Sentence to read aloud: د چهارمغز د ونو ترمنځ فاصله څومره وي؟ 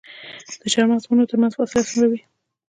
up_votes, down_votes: 2, 0